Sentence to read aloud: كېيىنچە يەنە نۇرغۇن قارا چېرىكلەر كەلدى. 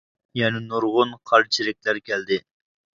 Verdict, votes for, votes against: rejected, 0, 2